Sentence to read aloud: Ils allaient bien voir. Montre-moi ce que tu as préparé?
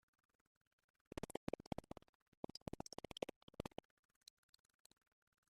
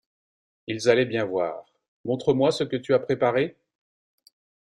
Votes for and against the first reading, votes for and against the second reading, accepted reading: 0, 2, 2, 0, second